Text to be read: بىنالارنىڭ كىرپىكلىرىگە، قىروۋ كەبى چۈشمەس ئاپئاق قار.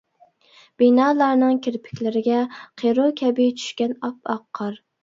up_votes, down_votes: 1, 2